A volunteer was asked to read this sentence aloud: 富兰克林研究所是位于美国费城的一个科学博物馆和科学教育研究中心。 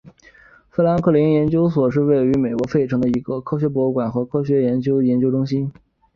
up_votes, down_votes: 3, 0